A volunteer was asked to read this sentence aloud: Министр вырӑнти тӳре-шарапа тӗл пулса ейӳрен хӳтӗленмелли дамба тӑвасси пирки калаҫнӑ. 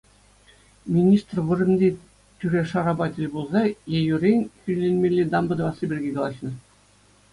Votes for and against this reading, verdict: 2, 0, accepted